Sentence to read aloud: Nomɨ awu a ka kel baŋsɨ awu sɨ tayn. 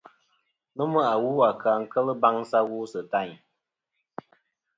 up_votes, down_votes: 1, 2